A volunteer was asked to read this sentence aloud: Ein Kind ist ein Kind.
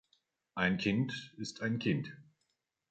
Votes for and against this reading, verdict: 2, 0, accepted